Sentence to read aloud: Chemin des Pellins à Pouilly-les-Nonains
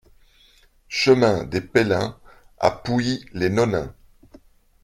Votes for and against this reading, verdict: 2, 0, accepted